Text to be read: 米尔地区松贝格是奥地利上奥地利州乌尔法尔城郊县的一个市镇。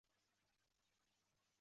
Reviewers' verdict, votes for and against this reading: rejected, 0, 3